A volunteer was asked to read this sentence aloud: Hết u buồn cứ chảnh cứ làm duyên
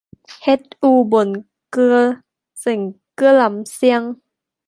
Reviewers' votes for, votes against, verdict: 0, 2, rejected